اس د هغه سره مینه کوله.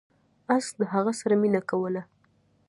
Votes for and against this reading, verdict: 2, 0, accepted